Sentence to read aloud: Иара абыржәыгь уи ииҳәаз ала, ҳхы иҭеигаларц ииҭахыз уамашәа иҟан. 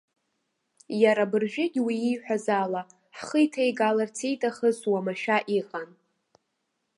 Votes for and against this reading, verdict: 2, 0, accepted